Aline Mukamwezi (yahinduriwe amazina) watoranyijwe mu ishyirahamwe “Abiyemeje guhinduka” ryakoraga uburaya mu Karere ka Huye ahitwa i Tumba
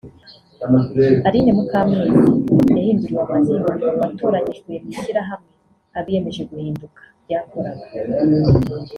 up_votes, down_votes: 1, 2